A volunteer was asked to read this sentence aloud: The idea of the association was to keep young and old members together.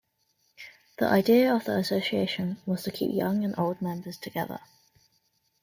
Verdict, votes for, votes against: accepted, 2, 0